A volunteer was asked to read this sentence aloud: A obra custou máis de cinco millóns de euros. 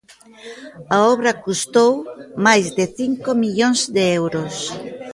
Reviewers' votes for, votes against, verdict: 1, 2, rejected